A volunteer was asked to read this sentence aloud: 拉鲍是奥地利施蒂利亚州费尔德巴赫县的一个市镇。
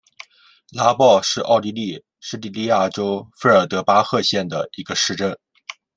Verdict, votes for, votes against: accepted, 2, 0